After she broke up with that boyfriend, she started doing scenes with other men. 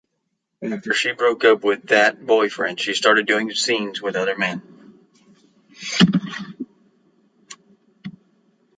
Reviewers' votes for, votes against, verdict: 2, 1, accepted